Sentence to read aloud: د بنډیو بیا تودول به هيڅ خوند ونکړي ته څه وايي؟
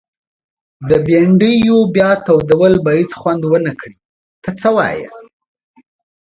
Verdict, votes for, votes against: accepted, 2, 0